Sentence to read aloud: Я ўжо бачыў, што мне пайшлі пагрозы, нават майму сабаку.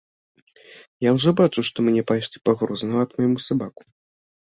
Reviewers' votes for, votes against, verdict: 1, 2, rejected